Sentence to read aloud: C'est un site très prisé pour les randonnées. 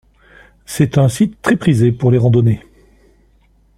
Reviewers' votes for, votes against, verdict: 2, 0, accepted